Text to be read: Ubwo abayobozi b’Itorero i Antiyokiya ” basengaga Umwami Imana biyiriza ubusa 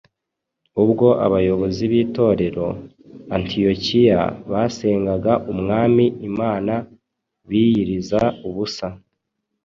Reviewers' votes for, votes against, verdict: 2, 0, accepted